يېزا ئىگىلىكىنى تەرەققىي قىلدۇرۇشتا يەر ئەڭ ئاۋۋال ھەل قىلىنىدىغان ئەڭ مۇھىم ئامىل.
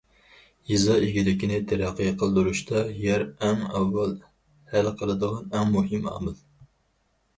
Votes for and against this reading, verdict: 0, 2, rejected